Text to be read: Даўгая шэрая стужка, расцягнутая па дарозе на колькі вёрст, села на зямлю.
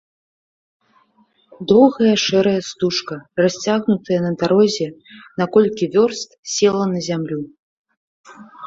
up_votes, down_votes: 1, 2